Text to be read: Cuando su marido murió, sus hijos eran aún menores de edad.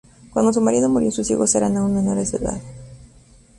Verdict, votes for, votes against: rejected, 0, 2